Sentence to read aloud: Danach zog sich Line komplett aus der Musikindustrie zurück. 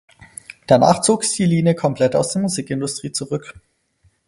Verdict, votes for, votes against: rejected, 2, 4